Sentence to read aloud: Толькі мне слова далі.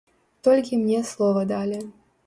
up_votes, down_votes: 2, 0